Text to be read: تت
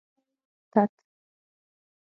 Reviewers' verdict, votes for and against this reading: rejected, 3, 6